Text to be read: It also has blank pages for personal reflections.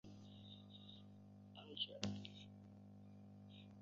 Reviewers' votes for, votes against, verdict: 0, 2, rejected